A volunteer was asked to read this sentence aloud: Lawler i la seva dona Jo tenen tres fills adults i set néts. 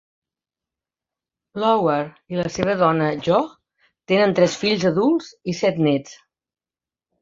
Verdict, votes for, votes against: rejected, 0, 2